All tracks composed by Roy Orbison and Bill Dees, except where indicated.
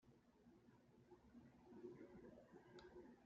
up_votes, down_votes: 0, 2